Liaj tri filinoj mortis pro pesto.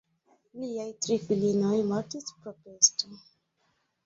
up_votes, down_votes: 2, 0